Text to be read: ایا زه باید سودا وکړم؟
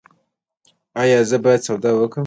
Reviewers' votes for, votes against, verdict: 2, 0, accepted